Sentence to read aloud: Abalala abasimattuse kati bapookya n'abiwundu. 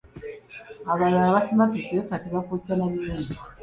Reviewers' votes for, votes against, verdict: 0, 2, rejected